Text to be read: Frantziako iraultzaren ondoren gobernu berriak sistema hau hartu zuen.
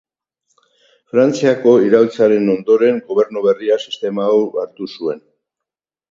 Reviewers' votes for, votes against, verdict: 2, 2, rejected